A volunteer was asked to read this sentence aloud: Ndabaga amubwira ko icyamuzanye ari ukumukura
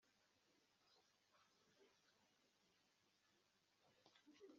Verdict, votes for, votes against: rejected, 0, 2